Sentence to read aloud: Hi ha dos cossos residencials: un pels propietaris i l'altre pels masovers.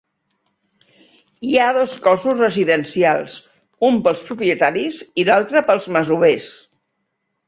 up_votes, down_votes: 3, 0